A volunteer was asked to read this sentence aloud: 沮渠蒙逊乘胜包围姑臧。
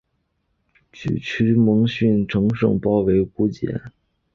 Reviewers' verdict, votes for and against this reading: accepted, 3, 0